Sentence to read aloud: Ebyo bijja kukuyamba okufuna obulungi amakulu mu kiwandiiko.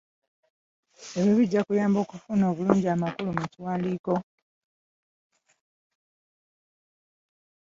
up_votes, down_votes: 0, 2